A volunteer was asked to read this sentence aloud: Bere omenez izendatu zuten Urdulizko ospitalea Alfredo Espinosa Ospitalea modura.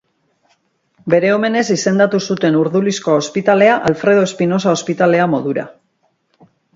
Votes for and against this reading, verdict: 2, 0, accepted